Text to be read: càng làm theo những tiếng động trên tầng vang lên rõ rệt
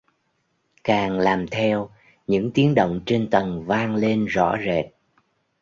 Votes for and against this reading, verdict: 2, 0, accepted